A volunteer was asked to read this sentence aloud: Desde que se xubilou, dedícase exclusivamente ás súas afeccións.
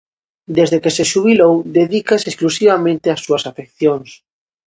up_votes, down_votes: 2, 0